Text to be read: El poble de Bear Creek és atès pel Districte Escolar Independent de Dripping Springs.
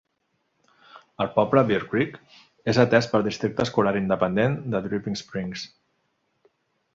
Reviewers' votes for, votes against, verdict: 1, 2, rejected